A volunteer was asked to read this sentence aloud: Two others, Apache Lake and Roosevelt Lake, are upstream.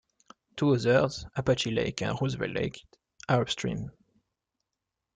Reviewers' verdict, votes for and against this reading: accepted, 2, 1